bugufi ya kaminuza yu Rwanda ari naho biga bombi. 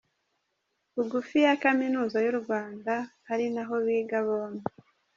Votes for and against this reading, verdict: 2, 0, accepted